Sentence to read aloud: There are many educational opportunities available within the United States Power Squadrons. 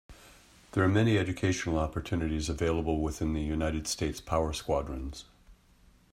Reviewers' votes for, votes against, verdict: 2, 0, accepted